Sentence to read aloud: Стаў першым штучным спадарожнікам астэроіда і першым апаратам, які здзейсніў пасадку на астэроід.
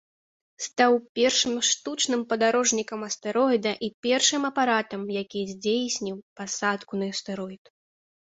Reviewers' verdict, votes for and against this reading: rejected, 0, 2